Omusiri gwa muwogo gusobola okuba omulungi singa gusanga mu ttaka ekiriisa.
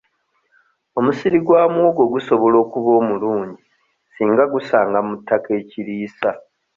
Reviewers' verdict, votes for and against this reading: accepted, 2, 0